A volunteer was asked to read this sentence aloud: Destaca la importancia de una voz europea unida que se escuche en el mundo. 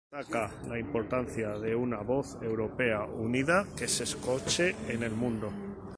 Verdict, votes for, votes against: rejected, 0, 2